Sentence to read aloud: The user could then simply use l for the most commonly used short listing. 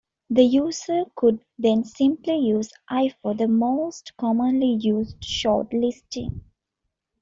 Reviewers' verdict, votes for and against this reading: accepted, 2, 1